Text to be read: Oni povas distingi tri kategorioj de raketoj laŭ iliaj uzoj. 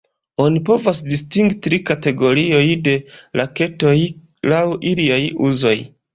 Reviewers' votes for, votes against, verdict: 2, 1, accepted